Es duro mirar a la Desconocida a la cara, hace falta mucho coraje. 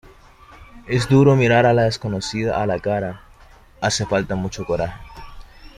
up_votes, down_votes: 2, 0